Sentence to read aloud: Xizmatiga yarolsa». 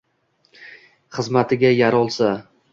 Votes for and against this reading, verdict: 1, 2, rejected